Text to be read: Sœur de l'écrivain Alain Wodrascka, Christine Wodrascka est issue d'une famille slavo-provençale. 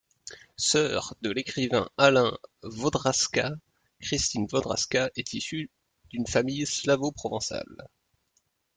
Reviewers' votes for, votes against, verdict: 1, 2, rejected